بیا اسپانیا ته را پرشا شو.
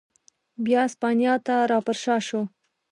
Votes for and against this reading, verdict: 2, 0, accepted